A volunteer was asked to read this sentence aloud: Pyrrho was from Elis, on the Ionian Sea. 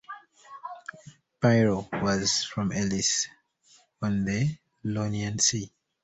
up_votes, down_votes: 1, 2